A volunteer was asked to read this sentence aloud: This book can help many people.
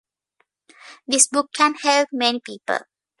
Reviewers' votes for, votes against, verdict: 2, 1, accepted